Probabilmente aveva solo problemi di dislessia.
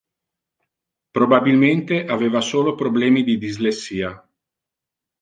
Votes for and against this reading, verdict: 2, 0, accepted